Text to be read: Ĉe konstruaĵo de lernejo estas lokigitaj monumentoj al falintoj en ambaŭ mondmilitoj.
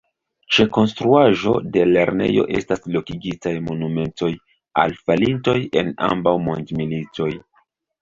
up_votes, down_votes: 1, 2